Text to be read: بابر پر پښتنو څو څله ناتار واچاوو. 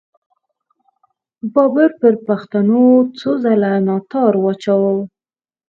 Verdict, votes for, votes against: rejected, 2, 4